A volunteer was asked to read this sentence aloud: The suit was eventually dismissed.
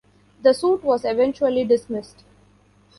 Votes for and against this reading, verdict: 2, 0, accepted